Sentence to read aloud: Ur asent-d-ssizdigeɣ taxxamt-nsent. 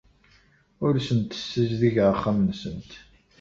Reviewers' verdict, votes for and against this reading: rejected, 1, 2